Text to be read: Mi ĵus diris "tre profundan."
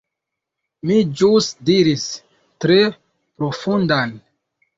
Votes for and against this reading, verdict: 2, 0, accepted